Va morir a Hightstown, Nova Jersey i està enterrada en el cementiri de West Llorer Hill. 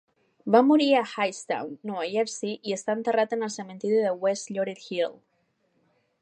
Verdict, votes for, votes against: rejected, 1, 2